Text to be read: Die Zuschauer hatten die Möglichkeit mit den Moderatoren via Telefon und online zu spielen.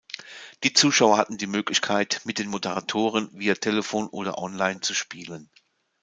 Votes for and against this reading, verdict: 1, 2, rejected